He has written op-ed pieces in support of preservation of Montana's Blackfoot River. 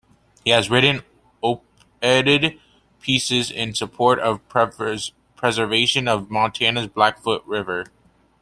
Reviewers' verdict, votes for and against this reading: rejected, 0, 2